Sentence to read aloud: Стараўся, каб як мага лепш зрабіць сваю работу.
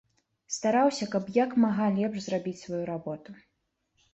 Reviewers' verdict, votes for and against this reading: accepted, 2, 0